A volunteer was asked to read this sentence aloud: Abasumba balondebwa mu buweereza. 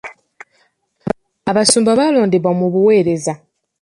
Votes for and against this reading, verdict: 2, 3, rejected